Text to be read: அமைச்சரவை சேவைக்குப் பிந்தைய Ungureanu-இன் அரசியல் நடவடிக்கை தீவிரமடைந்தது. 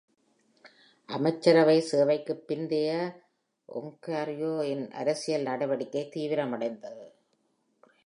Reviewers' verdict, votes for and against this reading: rejected, 1, 2